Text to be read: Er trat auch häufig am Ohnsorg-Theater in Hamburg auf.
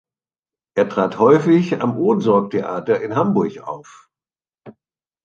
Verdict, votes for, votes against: rejected, 1, 2